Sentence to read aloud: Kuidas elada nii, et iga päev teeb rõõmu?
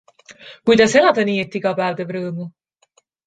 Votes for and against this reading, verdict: 2, 0, accepted